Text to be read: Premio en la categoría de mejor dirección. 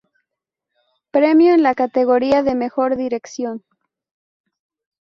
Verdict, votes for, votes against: rejected, 0, 2